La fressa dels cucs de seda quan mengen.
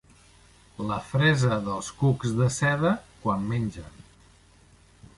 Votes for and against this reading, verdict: 2, 0, accepted